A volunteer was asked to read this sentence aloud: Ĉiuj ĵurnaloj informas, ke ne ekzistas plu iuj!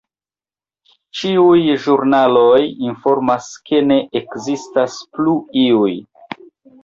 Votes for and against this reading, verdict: 3, 1, accepted